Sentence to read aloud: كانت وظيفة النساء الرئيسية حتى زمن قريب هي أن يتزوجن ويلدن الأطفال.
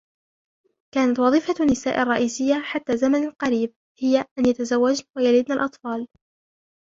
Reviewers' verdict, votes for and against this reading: rejected, 2, 3